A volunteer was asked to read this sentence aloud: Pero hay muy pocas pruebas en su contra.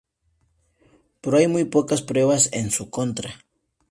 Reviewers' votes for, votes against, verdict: 2, 0, accepted